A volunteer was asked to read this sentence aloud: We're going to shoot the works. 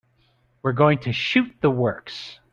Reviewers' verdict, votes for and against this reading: accepted, 2, 0